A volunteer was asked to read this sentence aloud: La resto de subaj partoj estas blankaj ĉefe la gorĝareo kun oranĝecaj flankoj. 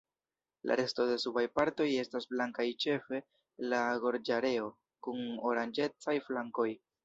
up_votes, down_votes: 0, 2